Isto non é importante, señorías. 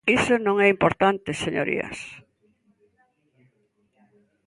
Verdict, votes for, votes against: accepted, 2, 0